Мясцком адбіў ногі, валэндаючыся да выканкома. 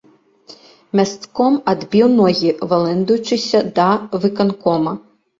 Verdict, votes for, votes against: accepted, 2, 0